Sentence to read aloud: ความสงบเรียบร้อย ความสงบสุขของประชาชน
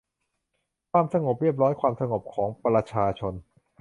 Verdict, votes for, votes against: rejected, 0, 2